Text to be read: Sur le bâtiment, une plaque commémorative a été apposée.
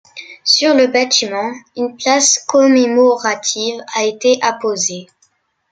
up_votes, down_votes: 0, 2